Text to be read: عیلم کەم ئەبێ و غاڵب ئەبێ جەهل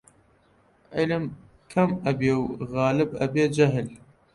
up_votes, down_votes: 1, 2